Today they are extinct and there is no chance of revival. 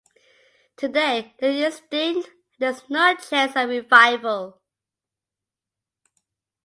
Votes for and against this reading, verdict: 2, 0, accepted